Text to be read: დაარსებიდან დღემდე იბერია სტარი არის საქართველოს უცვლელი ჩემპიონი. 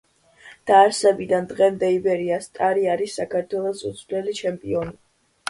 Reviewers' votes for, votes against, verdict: 2, 0, accepted